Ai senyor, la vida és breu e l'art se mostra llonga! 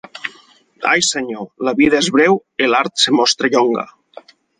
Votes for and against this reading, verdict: 4, 0, accepted